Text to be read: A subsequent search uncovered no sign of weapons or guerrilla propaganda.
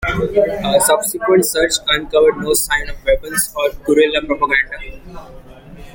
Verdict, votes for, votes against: rejected, 1, 2